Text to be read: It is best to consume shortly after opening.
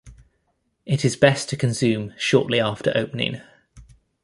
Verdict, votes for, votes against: accepted, 2, 0